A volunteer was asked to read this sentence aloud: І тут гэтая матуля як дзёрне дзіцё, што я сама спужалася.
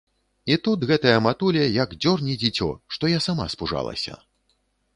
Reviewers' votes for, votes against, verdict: 2, 0, accepted